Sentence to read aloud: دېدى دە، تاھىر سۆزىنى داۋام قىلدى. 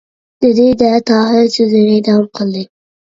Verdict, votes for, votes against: rejected, 0, 2